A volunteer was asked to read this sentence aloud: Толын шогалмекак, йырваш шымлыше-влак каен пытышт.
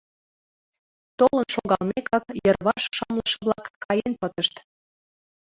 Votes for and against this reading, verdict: 2, 1, accepted